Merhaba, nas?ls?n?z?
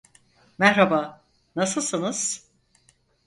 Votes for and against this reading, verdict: 0, 4, rejected